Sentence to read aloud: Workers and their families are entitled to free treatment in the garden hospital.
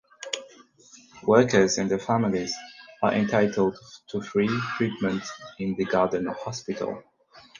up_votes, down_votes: 4, 0